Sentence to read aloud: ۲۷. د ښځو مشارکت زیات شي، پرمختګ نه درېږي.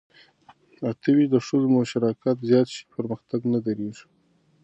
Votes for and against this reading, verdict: 0, 2, rejected